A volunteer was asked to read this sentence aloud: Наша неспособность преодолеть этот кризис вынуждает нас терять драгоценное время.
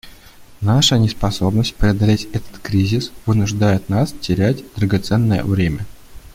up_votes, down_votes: 2, 1